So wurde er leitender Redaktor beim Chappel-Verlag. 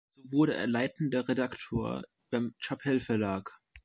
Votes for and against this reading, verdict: 0, 2, rejected